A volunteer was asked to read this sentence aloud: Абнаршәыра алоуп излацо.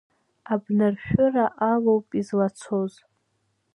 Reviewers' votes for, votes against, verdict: 1, 2, rejected